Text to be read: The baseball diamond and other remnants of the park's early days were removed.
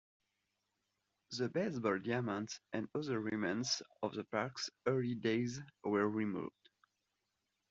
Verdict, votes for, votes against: accepted, 2, 0